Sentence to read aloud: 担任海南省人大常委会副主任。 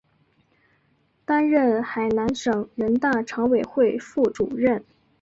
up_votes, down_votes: 3, 0